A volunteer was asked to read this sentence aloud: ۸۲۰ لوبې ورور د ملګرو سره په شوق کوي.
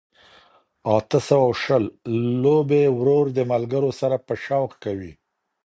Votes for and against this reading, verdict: 0, 2, rejected